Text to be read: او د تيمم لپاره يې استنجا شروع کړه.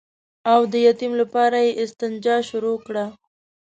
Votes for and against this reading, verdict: 1, 2, rejected